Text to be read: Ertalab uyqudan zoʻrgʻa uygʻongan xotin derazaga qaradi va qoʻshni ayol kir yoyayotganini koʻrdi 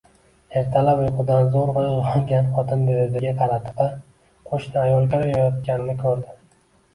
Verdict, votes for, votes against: accepted, 2, 1